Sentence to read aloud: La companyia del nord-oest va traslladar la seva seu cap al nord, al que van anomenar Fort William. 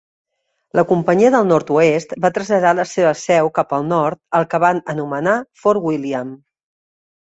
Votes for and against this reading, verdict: 2, 0, accepted